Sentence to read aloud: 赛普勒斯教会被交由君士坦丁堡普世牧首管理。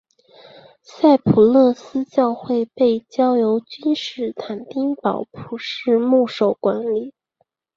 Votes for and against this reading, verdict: 3, 0, accepted